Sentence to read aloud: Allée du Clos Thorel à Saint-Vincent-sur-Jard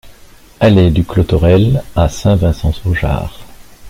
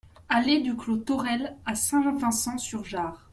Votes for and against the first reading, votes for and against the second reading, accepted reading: 2, 0, 1, 2, first